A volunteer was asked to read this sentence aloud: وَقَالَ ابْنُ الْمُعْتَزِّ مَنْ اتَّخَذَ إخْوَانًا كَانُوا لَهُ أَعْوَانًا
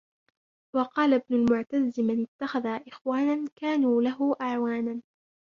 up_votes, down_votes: 1, 2